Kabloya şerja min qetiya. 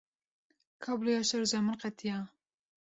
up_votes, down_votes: 2, 0